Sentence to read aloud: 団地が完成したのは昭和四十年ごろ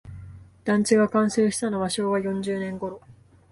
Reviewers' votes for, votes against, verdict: 2, 0, accepted